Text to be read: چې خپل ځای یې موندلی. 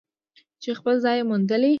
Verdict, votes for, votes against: accepted, 2, 0